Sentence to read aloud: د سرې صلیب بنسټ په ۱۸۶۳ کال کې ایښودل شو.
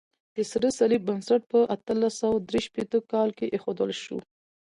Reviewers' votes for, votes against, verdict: 0, 2, rejected